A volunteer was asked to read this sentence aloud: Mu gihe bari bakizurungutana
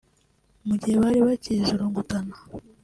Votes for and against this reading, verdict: 2, 0, accepted